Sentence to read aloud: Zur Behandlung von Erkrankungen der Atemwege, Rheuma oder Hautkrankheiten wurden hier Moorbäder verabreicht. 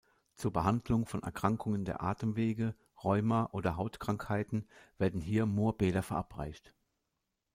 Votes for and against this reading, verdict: 1, 2, rejected